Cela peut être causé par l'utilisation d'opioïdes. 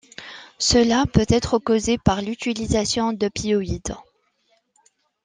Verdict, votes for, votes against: accepted, 2, 1